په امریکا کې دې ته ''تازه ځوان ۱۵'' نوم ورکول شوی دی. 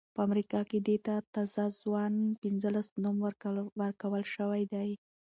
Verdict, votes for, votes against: rejected, 0, 2